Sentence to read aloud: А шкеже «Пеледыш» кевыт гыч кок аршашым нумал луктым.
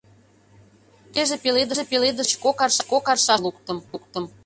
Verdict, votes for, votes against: rejected, 0, 2